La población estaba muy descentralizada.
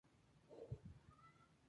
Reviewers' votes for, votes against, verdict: 0, 2, rejected